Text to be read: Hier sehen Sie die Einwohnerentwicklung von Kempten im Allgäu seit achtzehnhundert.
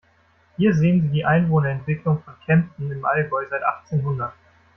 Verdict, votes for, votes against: rejected, 1, 2